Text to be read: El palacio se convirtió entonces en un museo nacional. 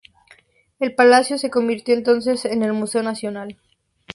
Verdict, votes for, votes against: rejected, 0, 2